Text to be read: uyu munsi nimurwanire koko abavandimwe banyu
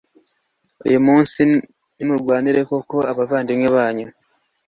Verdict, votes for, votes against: accepted, 2, 0